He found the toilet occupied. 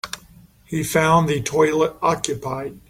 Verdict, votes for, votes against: accepted, 3, 0